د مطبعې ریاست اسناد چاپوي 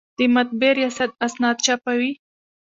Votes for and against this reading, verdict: 1, 3, rejected